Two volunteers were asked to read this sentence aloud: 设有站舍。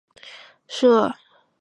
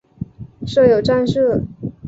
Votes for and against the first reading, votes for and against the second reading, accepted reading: 1, 4, 2, 0, second